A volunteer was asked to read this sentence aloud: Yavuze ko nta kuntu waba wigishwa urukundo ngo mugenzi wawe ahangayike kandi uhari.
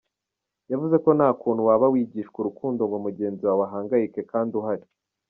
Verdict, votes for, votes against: accepted, 2, 0